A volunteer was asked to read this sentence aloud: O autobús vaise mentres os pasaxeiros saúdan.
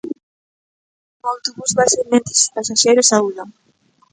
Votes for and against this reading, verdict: 1, 2, rejected